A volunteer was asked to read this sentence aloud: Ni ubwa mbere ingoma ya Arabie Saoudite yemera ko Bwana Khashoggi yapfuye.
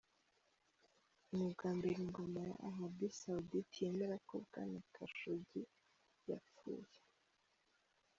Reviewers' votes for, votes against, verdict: 1, 2, rejected